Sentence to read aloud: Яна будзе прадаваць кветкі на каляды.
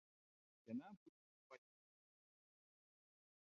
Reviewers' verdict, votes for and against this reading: rejected, 0, 2